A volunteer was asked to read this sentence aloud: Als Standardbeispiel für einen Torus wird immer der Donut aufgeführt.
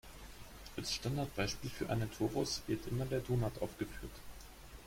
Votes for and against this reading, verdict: 1, 2, rejected